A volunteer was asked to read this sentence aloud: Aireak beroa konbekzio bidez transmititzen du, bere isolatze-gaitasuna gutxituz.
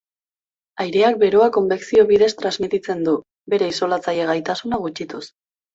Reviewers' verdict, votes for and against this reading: rejected, 1, 2